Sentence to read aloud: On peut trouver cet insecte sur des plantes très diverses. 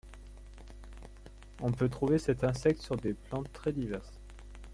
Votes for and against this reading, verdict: 2, 0, accepted